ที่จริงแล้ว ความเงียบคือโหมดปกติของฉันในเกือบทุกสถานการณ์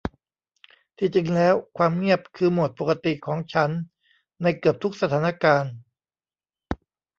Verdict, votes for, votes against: rejected, 1, 2